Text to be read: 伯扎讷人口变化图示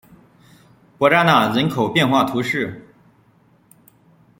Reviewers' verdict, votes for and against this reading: accepted, 2, 1